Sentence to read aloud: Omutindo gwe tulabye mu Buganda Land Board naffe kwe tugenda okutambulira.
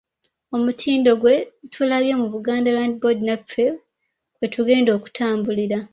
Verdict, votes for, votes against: rejected, 1, 2